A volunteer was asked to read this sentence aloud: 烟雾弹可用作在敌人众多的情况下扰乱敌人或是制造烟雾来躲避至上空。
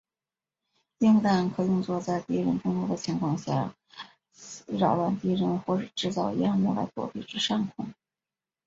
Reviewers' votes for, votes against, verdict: 1, 2, rejected